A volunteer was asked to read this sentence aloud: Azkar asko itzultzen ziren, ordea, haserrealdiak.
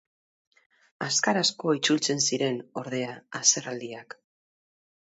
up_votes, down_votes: 4, 0